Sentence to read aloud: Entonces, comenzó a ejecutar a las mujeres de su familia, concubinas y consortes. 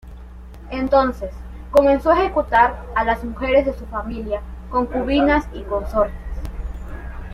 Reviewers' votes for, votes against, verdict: 2, 0, accepted